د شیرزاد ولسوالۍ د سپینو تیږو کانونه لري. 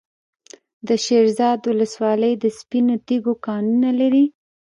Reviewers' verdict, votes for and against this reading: rejected, 1, 2